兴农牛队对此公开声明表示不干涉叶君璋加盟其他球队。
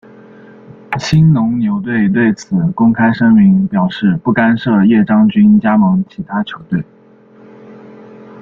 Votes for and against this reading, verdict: 0, 2, rejected